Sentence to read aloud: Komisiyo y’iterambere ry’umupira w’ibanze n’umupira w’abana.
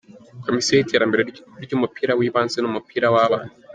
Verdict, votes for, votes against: rejected, 0, 2